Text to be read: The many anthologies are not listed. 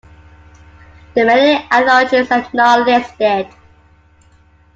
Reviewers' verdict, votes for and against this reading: rejected, 0, 2